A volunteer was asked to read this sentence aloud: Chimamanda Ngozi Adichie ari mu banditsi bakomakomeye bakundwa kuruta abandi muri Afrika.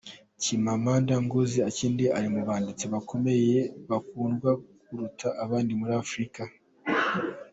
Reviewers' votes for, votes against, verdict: 2, 1, accepted